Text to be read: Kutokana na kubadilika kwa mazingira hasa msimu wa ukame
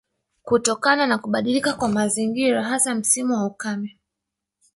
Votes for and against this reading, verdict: 1, 2, rejected